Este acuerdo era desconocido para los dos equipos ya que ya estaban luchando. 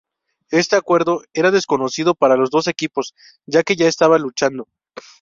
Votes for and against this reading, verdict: 0, 2, rejected